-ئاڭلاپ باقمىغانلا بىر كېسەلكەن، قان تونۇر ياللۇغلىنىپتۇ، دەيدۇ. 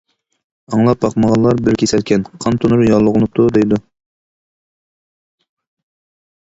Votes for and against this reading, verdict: 0, 2, rejected